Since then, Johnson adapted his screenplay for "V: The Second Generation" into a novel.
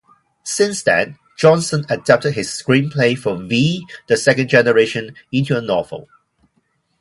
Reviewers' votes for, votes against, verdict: 2, 2, rejected